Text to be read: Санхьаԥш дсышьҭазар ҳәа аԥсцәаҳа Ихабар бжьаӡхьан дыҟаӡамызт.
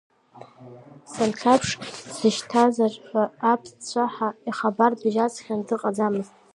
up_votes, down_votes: 1, 2